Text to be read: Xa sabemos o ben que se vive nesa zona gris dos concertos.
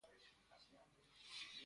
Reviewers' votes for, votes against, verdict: 0, 3, rejected